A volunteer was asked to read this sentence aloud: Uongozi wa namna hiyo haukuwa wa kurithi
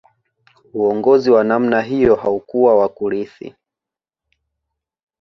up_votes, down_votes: 2, 0